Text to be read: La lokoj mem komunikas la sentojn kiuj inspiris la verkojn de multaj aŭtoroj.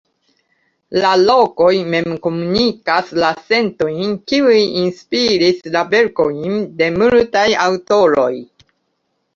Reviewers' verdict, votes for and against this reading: accepted, 2, 1